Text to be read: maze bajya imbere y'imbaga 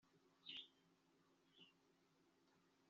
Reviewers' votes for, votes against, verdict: 1, 4, rejected